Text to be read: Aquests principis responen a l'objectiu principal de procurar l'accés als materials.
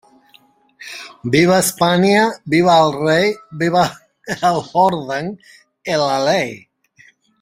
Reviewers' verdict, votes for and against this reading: rejected, 0, 2